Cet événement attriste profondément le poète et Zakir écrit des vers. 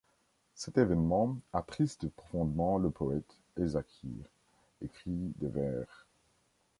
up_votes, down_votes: 2, 3